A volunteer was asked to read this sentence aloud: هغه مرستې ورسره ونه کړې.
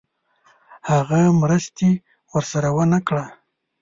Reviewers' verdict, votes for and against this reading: rejected, 1, 2